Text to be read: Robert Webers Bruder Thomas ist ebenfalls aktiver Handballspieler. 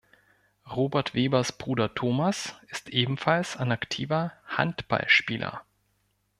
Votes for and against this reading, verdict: 1, 2, rejected